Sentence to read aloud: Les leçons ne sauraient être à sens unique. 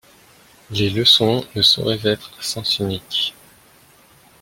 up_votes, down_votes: 2, 0